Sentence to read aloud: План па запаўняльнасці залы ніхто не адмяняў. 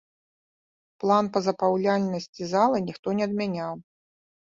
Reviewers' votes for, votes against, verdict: 0, 2, rejected